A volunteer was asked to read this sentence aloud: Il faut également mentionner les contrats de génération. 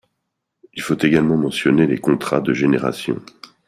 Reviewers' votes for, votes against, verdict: 2, 0, accepted